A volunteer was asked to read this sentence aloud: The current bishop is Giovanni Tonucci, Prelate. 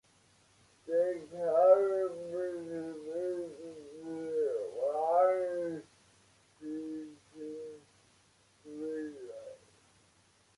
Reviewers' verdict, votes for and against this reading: rejected, 0, 2